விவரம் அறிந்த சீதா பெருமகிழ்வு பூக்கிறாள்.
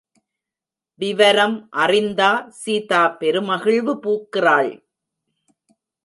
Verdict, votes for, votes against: rejected, 0, 2